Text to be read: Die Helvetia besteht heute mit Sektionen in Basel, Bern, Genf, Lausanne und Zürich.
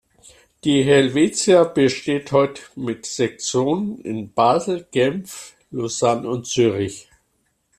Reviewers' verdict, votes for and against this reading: rejected, 0, 2